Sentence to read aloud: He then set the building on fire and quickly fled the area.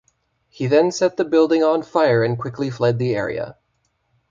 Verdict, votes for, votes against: accepted, 2, 0